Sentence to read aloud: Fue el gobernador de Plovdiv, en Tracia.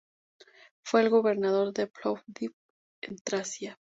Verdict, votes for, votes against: accepted, 2, 0